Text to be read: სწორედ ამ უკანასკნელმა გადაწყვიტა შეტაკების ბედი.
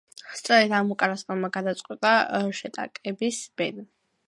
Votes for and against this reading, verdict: 2, 0, accepted